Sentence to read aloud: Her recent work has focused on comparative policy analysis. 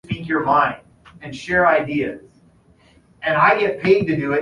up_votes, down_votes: 0, 2